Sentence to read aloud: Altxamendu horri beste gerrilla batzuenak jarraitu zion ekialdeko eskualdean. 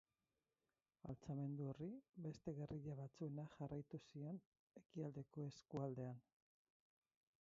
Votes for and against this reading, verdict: 2, 8, rejected